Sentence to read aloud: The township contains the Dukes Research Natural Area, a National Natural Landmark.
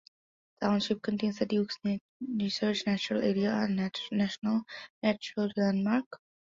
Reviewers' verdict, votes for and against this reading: rejected, 0, 2